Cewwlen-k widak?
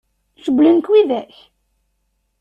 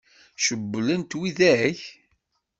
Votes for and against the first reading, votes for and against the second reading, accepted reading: 2, 0, 0, 2, first